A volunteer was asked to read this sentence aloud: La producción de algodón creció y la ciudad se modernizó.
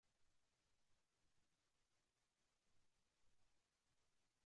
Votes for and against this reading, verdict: 0, 2, rejected